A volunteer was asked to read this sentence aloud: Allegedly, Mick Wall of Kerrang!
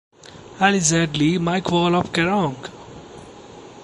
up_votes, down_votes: 0, 2